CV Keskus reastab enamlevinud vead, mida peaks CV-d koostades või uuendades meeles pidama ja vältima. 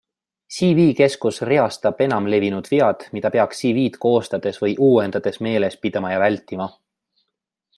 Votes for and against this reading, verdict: 2, 0, accepted